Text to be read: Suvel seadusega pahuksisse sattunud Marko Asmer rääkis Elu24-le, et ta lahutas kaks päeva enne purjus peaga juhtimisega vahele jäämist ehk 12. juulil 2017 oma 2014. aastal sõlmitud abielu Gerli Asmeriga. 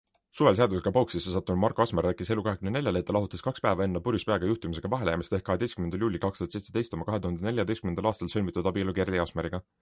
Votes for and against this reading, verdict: 0, 2, rejected